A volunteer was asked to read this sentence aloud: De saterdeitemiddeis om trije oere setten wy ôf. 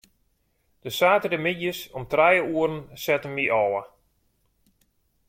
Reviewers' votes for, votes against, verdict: 0, 2, rejected